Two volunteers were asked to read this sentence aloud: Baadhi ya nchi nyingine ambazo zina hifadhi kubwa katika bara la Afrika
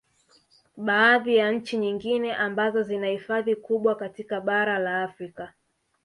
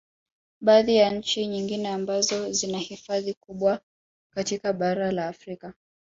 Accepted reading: second